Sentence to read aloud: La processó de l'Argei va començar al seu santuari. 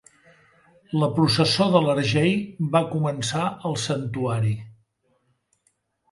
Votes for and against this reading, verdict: 0, 2, rejected